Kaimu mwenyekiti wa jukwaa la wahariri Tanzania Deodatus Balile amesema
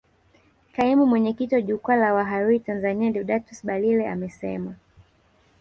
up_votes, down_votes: 1, 2